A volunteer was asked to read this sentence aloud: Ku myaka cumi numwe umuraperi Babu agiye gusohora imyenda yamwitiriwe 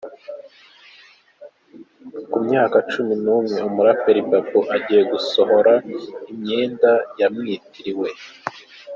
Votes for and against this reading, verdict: 3, 0, accepted